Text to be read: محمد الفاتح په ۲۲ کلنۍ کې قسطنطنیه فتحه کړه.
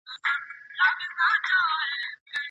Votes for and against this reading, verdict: 0, 2, rejected